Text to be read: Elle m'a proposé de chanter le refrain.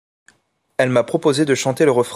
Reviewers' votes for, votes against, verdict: 0, 2, rejected